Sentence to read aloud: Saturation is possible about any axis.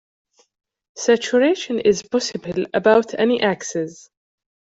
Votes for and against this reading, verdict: 2, 0, accepted